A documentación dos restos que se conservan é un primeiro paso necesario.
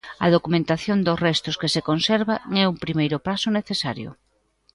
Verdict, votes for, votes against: rejected, 1, 2